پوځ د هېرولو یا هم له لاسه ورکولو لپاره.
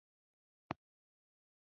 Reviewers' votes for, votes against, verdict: 0, 2, rejected